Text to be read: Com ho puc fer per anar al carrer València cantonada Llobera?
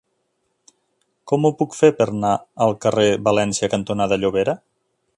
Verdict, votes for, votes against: accepted, 3, 0